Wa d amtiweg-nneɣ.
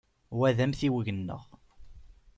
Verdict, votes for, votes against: accepted, 2, 0